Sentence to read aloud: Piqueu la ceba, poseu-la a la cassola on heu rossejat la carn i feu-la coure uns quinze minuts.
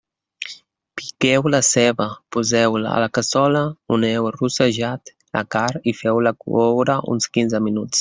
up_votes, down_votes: 1, 2